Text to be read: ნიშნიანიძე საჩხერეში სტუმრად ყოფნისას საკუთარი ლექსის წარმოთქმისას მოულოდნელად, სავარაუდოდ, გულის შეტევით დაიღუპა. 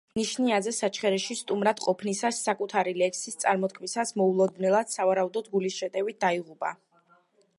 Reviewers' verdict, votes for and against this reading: accepted, 2, 1